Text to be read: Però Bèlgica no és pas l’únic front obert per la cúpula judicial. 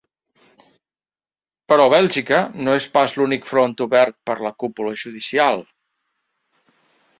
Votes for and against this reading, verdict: 4, 0, accepted